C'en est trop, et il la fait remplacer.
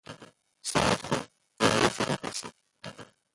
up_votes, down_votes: 0, 2